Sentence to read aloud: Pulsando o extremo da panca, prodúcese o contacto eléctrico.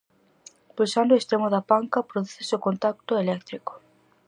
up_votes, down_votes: 4, 0